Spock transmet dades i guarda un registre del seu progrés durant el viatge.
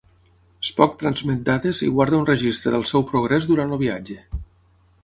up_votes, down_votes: 3, 6